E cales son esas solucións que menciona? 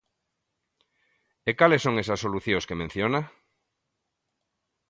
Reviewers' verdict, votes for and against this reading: accepted, 2, 0